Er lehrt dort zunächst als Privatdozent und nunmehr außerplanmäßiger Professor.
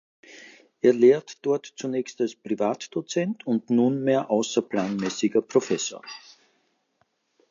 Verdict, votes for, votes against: accepted, 2, 0